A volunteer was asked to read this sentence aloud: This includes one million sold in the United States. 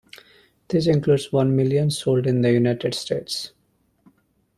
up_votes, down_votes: 2, 0